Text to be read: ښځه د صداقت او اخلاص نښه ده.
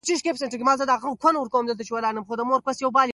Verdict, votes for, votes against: rejected, 0, 2